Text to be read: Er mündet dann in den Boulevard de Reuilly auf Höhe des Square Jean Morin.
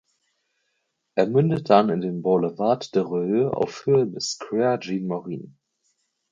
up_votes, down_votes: 4, 6